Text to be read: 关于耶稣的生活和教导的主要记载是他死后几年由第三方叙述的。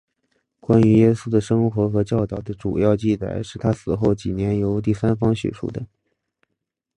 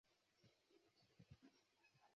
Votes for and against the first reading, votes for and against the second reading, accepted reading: 2, 0, 0, 2, first